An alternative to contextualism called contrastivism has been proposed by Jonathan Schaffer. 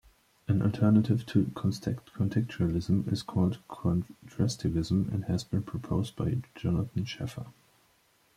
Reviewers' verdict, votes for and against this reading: rejected, 1, 2